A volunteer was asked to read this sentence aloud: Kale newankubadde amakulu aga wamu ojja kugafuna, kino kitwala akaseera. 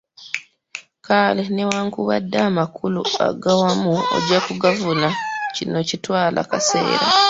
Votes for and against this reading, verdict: 0, 2, rejected